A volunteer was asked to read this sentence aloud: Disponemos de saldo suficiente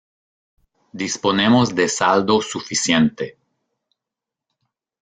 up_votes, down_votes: 2, 0